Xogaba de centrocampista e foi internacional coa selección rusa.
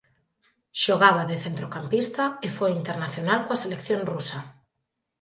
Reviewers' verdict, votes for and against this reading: accepted, 5, 1